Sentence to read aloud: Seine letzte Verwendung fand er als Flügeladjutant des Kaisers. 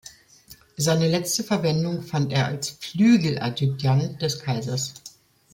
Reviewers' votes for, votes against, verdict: 2, 0, accepted